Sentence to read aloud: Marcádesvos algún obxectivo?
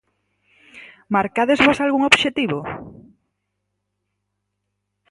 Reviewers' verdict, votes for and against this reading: accepted, 4, 0